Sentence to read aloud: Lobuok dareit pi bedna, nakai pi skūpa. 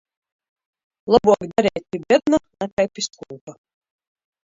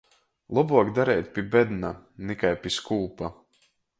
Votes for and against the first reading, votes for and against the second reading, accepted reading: 0, 2, 2, 0, second